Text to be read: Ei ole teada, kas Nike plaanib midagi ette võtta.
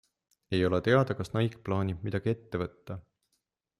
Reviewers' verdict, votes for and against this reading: accepted, 2, 0